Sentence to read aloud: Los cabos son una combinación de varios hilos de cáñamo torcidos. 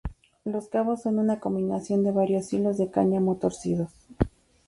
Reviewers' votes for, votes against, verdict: 2, 0, accepted